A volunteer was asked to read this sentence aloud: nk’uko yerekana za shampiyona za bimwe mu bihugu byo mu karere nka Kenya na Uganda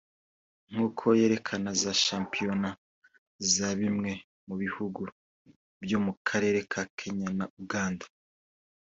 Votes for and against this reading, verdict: 2, 0, accepted